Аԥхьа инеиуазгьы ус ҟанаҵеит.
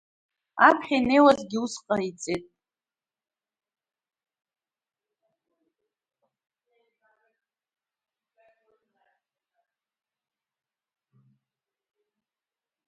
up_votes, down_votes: 1, 2